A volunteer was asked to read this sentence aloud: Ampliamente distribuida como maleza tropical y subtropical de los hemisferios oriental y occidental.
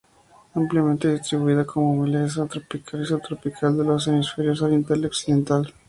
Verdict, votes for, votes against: accepted, 2, 0